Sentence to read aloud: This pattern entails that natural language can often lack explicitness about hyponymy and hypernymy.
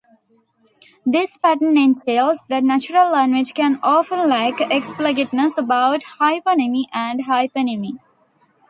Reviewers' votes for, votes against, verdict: 2, 1, accepted